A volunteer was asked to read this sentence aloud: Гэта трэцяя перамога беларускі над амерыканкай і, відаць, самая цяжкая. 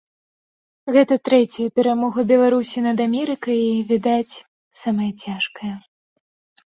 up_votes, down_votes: 0, 2